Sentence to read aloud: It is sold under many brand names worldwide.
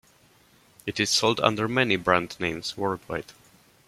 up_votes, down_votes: 0, 2